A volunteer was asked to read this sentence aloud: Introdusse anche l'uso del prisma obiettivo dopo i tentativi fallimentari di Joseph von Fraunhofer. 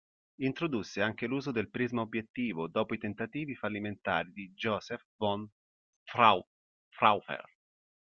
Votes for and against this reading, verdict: 0, 2, rejected